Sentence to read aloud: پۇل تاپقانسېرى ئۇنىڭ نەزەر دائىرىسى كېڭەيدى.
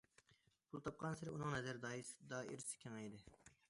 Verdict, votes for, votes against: rejected, 0, 2